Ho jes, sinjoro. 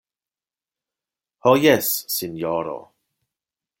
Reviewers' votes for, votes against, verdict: 2, 0, accepted